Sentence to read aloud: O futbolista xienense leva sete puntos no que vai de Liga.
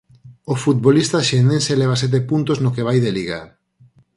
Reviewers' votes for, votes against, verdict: 4, 0, accepted